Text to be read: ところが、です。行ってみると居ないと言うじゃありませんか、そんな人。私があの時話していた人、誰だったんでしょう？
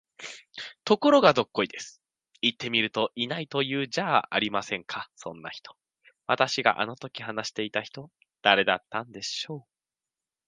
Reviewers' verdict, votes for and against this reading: rejected, 0, 3